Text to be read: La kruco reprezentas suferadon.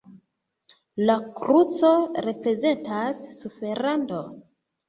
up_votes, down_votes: 3, 1